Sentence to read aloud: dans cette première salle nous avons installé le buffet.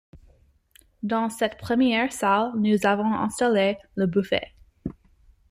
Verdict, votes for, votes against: accepted, 2, 0